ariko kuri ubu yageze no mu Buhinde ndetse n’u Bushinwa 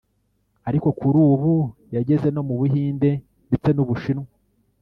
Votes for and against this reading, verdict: 1, 2, rejected